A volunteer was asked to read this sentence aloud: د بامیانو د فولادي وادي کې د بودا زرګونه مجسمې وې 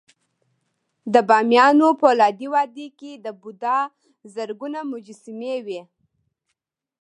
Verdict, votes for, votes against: accepted, 2, 0